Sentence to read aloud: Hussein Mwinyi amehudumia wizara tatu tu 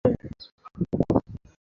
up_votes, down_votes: 0, 2